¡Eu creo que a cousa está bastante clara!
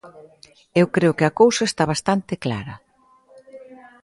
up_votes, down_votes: 2, 0